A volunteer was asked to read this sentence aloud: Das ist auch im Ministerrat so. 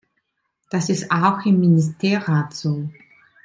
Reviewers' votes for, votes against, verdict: 2, 0, accepted